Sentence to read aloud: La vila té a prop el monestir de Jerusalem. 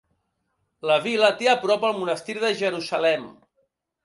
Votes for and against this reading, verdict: 2, 0, accepted